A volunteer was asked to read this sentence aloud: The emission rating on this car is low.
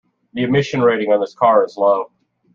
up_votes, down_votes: 2, 1